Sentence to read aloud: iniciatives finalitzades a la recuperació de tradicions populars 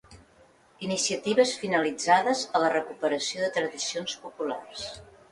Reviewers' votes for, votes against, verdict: 2, 0, accepted